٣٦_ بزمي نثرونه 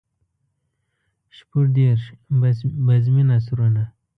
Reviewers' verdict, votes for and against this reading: rejected, 0, 2